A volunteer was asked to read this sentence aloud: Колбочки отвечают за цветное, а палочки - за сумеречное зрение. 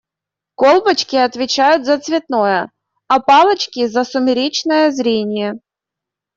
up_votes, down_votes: 1, 2